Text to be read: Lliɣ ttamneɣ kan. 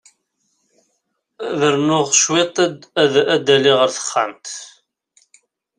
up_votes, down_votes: 0, 2